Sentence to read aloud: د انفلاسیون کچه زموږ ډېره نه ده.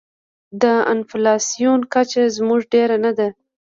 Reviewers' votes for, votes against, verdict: 2, 0, accepted